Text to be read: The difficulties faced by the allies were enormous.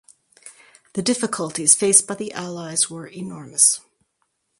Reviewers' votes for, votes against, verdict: 2, 2, rejected